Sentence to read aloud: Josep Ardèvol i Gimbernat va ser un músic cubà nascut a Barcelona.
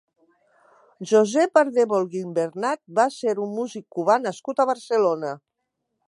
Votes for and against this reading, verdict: 0, 2, rejected